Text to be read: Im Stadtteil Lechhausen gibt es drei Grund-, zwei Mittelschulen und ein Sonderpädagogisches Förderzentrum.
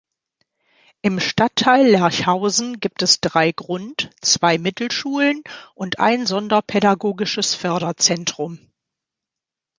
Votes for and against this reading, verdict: 1, 2, rejected